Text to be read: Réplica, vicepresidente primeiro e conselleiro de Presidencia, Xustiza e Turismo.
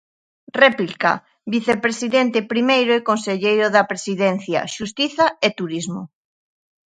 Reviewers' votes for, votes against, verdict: 0, 2, rejected